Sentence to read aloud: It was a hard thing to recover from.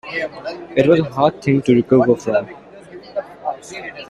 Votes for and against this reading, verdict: 2, 0, accepted